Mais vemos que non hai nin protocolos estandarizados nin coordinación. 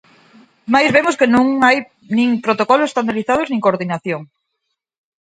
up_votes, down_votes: 4, 2